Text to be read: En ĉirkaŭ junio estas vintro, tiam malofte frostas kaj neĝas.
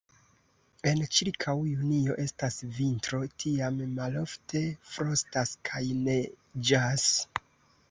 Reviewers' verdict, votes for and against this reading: rejected, 0, 2